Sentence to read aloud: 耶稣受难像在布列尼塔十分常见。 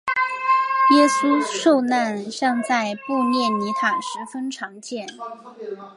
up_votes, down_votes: 2, 0